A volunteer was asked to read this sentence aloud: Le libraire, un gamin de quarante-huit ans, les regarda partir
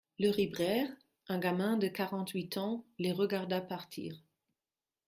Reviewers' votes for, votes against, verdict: 1, 2, rejected